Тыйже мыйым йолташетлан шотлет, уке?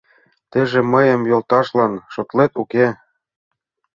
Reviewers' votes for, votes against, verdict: 0, 2, rejected